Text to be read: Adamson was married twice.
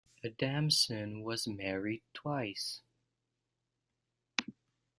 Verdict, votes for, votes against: rejected, 1, 2